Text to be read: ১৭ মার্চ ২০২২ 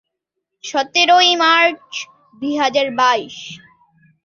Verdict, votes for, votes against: rejected, 0, 2